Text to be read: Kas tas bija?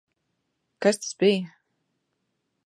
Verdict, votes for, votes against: accepted, 2, 0